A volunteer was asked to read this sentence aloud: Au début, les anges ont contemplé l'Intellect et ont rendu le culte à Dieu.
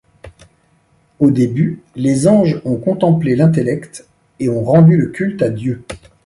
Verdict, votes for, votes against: accepted, 2, 1